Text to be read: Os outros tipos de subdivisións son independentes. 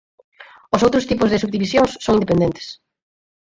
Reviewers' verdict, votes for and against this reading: rejected, 2, 4